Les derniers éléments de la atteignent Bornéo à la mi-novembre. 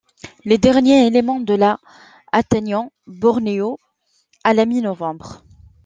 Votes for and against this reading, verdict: 0, 2, rejected